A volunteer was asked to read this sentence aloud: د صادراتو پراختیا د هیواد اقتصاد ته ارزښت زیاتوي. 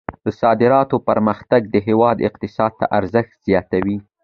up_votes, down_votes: 2, 0